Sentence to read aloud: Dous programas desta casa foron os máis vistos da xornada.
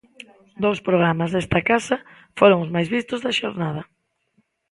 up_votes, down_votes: 2, 0